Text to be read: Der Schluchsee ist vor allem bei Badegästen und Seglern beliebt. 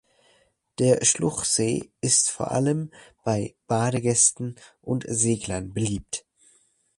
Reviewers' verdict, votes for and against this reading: accepted, 3, 0